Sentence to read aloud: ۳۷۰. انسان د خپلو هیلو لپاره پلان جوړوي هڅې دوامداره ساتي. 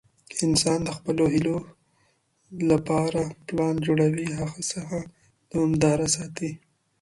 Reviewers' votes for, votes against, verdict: 0, 2, rejected